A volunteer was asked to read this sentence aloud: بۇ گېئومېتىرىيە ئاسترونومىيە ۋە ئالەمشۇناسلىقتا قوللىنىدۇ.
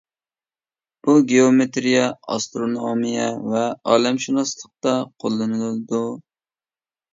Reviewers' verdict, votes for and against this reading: accepted, 2, 0